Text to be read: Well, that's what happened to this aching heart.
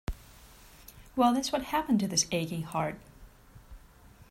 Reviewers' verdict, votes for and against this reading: accepted, 2, 0